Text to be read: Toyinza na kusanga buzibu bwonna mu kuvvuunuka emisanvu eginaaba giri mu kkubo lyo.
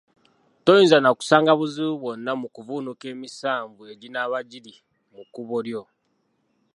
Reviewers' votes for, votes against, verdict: 3, 0, accepted